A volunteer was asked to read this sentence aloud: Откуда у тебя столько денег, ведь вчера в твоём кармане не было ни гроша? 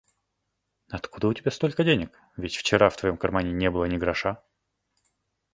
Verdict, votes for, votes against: accepted, 2, 0